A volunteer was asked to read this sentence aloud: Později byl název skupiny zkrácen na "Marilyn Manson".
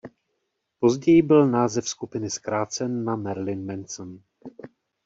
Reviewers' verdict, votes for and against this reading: accepted, 2, 0